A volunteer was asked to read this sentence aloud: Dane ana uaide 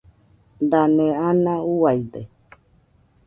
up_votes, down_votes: 2, 0